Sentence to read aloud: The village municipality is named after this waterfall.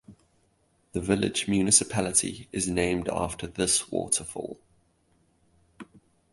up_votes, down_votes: 2, 0